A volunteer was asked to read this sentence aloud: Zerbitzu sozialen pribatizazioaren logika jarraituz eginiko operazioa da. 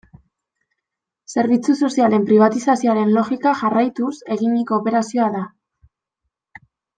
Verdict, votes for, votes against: accepted, 2, 0